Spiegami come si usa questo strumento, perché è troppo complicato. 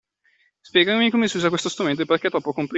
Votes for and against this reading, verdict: 1, 2, rejected